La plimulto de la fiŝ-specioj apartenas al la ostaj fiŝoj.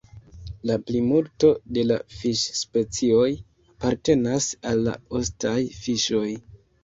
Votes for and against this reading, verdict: 2, 1, accepted